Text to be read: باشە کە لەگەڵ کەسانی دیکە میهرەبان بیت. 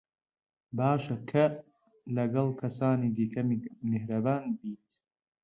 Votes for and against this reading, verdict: 0, 2, rejected